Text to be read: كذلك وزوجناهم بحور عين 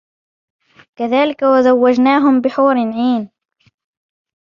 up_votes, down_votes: 2, 0